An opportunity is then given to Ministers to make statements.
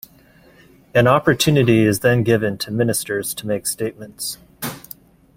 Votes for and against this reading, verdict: 2, 0, accepted